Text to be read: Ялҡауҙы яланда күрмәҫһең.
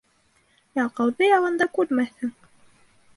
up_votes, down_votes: 2, 0